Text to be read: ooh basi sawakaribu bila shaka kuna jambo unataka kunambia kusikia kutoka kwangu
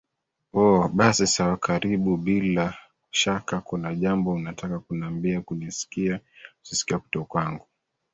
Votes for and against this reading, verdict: 1, 2, rejected